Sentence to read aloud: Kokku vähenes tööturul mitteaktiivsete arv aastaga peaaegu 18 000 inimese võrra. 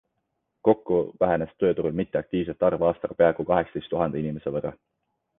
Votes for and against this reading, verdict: 0, 2, rejected